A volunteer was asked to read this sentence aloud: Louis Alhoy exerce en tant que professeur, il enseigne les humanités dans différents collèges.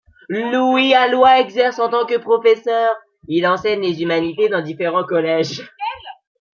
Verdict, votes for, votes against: rejected, 1, 2